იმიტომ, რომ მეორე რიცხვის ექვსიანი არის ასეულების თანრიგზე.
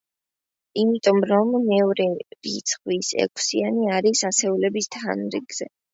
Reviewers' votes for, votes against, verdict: 2, 0, accepted